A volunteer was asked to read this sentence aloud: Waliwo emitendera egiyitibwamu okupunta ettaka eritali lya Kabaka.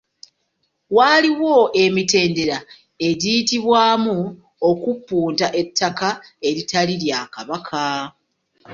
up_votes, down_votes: 0, 2